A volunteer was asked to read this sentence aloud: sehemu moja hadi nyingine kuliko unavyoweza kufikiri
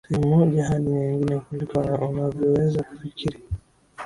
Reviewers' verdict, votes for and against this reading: accepted, 4, 2